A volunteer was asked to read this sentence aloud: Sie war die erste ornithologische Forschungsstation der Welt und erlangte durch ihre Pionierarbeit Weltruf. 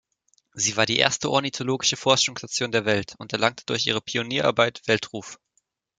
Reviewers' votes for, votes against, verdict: 2, 0, accepted